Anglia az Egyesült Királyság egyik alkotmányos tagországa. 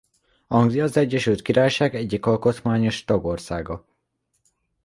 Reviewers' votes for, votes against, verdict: 2, 0, accepted